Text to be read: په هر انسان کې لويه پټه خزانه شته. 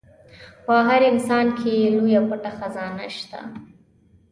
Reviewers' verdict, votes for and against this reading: accepted, 2, 0